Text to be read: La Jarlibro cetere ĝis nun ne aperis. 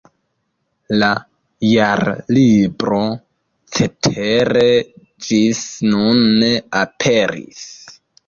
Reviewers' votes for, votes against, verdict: 2, 0, accepted